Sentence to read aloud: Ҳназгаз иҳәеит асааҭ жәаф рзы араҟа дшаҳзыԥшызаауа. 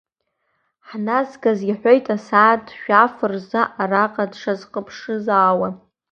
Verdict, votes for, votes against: accepted, 2, 1